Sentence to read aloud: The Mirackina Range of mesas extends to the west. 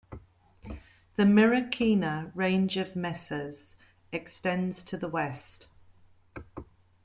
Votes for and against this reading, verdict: 2, 1, accepted